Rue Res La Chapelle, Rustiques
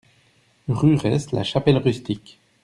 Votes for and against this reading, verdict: 1, 2, rejected